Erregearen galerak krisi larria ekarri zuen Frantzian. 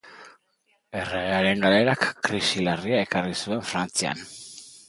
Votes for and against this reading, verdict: 3, 0, accepted